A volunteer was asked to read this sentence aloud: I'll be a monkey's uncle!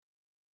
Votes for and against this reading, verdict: 0, 2, rejected